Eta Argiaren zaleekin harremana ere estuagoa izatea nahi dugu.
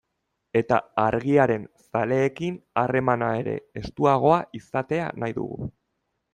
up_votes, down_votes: 2, 0